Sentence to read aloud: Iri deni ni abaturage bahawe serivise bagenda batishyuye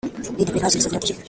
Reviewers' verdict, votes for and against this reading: rejected, 0, 2